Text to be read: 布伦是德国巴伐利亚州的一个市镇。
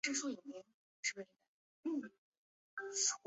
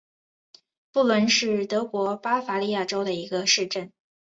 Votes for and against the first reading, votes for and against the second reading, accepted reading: 1, 2, 2, 0, second